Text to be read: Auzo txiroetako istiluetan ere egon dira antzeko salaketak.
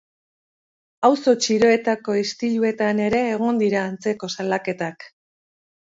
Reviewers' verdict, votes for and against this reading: accepted, 2, 0